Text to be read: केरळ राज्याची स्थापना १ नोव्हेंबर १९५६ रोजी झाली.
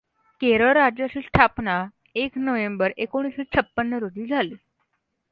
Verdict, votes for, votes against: rejected, 0, 2